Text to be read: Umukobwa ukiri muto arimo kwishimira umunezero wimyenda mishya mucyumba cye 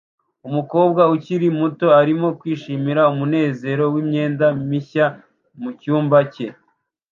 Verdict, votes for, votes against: accepted, 2, 0